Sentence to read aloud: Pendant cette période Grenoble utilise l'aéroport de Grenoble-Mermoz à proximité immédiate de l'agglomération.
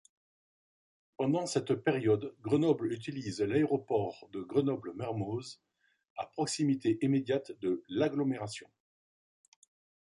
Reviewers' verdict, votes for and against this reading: accepted, 2, 0